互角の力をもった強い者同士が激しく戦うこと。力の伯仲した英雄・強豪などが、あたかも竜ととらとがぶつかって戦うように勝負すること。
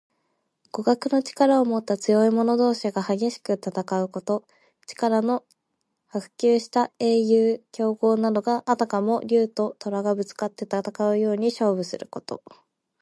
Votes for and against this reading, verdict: 3, 0, accepted